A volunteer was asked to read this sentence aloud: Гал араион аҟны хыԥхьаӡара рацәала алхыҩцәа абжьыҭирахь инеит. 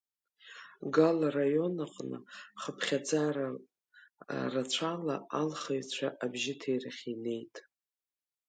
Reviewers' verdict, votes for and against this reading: rejected, 1, 2